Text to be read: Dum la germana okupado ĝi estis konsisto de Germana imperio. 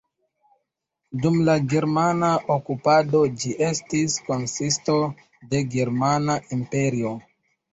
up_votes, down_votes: 1, 2